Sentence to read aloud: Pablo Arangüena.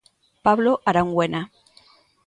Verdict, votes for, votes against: accepted, 2, 0